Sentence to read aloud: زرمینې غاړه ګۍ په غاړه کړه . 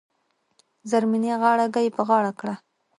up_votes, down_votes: 0, 2